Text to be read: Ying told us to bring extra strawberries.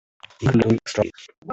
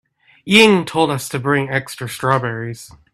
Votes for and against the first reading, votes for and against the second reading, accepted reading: 0, 2, 2, 0, second